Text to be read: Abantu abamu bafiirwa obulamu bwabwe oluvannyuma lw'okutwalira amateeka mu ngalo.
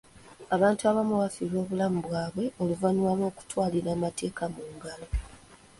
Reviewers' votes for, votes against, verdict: 2, 1, accepted